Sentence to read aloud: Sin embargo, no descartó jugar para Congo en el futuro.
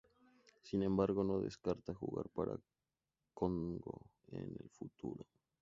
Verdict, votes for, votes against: rejected, 0, 2